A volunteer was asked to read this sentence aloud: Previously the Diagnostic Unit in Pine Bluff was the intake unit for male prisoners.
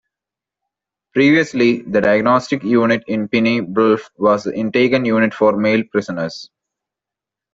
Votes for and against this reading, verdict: 0, 2, rejected